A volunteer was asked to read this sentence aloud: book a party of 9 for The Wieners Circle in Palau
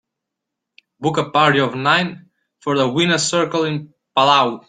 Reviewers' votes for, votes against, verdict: 0, 2, rejected